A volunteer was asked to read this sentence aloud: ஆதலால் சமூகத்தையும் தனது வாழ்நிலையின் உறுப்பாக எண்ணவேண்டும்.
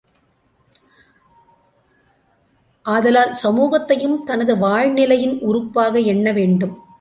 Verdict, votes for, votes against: accepted, 2, 0